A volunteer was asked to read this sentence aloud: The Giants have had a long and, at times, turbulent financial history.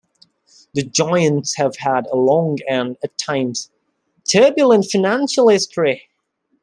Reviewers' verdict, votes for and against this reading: accepted, 2, 0